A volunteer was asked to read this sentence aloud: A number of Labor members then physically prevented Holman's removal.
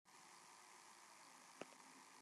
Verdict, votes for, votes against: rejected, 0, 2